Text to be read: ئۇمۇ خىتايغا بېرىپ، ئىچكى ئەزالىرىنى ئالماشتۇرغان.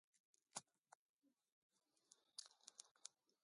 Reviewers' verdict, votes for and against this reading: rejected, 0, 2